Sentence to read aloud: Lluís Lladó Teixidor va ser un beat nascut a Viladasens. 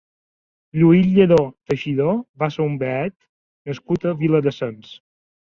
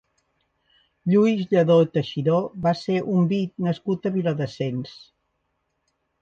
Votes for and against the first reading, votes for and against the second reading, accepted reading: 2, 0, 1, 2, first